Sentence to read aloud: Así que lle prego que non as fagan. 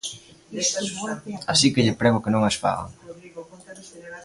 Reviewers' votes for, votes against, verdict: 1, 2, rejected